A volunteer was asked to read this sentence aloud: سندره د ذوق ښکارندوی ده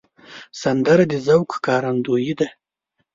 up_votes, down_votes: 1, 2